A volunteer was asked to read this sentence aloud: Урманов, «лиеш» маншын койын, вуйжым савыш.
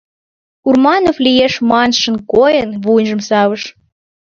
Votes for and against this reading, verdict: 3, 0, accepted